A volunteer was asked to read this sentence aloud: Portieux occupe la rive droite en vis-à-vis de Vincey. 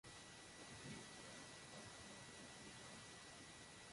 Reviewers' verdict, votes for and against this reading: rejected, 0, 2